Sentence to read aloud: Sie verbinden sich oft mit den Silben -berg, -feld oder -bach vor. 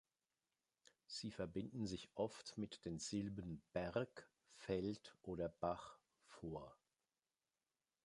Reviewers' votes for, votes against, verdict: 2, 0, accepted